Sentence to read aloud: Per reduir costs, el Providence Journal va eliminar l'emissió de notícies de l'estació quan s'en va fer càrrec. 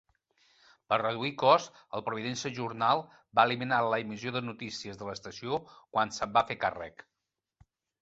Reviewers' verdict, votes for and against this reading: rejected, 0, 2